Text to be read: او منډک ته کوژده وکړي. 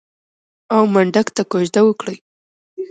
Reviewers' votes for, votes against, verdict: 1, 2, rejected